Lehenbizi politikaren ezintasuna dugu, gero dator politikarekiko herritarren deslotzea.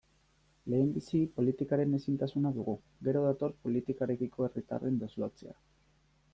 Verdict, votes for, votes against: accepted, 2, 0